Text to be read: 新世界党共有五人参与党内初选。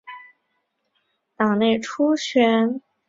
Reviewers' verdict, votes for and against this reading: rejected, 0, 2